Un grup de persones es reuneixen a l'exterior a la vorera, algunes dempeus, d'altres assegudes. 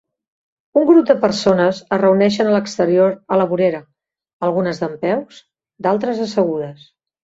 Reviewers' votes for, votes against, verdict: 3, 0, accepted